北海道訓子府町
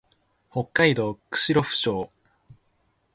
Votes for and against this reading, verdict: 2, 0, accepted